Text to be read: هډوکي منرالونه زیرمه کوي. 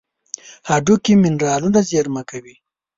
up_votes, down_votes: 4, 1